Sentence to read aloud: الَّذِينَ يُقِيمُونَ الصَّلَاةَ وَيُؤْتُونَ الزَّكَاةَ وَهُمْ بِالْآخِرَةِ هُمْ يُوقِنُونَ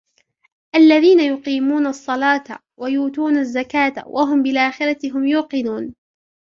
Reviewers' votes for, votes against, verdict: 1, 2, rejected